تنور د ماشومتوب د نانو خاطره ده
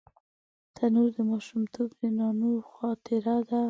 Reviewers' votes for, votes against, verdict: 1, 2, rejected